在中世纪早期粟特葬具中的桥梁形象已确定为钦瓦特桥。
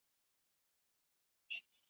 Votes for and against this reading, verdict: 0, 3, rejected